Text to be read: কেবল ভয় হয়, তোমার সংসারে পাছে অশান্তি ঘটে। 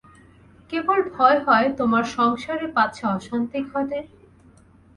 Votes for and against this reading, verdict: 0, 2, rejected